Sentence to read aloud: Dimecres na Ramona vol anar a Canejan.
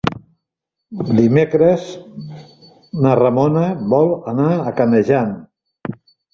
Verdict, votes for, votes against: accepted, 3, 0